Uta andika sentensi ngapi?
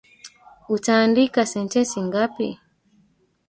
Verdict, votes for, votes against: rejected, 1, 3